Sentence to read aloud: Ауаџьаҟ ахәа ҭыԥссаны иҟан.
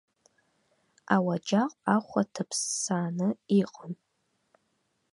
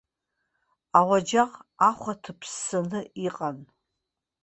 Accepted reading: second